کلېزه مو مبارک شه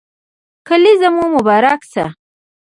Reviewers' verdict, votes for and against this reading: rejected, 1, 2